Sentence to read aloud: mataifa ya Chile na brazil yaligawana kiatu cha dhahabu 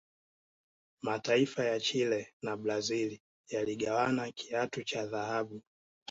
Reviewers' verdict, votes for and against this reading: accepted, 2, 0